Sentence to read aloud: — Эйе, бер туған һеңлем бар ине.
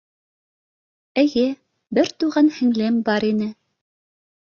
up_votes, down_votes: 2, 0